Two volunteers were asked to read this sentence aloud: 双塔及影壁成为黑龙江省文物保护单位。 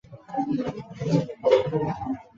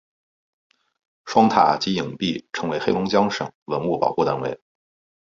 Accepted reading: second